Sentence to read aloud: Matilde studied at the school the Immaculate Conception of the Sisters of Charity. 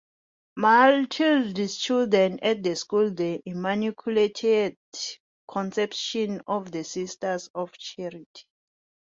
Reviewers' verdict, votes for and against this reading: rejected, 0, 2